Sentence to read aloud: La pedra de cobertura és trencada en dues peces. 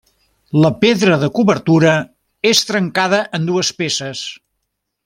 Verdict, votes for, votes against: accepted, 3, 0